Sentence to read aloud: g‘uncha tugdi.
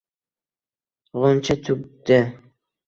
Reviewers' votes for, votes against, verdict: 1, 2, rejected